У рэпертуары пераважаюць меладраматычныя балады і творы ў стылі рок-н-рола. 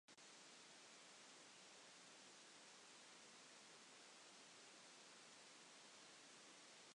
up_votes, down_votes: 0, 2